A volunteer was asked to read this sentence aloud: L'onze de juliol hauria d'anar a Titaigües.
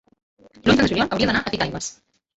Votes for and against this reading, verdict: 0, 2, rejected